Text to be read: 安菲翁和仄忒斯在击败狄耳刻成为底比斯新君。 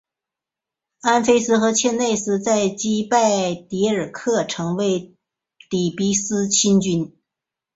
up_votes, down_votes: 3, 2